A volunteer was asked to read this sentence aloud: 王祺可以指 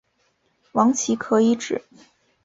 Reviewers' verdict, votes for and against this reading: accepted, 4, 0